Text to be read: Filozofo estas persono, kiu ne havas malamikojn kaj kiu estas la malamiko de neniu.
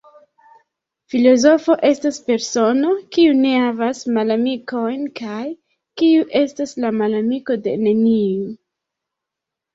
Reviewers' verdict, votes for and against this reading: rejected, 1, 2